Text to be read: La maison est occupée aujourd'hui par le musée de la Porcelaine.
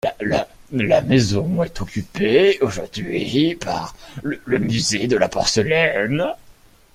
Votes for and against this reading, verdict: 0, 3, rejected